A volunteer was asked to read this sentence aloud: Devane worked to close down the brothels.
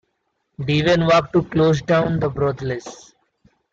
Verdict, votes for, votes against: rejected, 0, 2